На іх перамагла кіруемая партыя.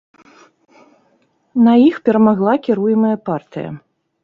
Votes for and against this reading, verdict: 2, 0, accepted